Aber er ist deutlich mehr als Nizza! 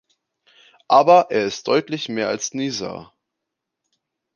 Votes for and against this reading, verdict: 0, 2, rejected